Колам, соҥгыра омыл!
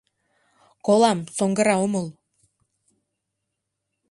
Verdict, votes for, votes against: accepted, 2, 0